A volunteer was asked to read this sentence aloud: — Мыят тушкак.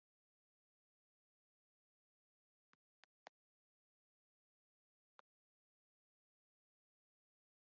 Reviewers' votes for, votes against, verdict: 0, 2, rejected